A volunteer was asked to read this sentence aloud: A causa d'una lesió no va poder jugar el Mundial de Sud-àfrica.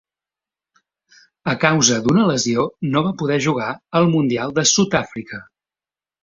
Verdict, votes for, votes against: accepted, 2, 0